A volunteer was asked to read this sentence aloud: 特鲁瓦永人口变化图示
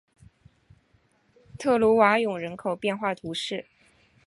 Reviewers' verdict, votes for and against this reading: accepted, 5, 0